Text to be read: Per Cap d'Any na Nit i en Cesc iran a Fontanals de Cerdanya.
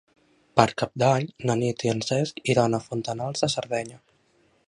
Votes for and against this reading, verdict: 1, 2, rejected